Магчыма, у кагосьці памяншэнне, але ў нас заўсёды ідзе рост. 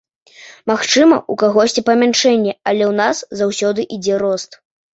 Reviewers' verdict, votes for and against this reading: accepted, 2, 0